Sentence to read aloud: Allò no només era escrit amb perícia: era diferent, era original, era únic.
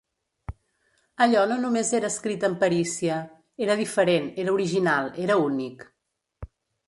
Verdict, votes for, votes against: accepted, 2, 0